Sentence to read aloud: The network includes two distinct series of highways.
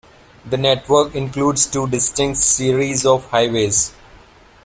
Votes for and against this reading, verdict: 2, 0, accepted